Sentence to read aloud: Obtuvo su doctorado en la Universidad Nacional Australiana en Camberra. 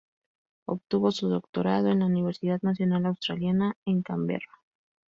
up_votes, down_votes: 2, 2